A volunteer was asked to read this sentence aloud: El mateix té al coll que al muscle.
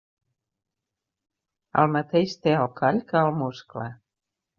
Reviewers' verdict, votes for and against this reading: accepted, 2, 0